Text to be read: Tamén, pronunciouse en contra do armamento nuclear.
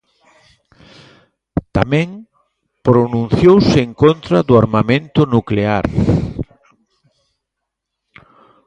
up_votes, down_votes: 1, 2